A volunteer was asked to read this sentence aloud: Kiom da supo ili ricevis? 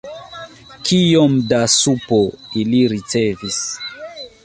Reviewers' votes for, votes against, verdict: 1, 3, rejected